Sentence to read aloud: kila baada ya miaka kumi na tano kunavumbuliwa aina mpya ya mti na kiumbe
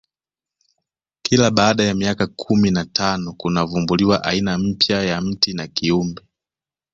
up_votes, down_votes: 3, 0